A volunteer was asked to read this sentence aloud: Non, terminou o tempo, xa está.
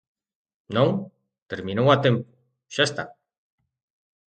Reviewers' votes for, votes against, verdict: 0, 2, rejected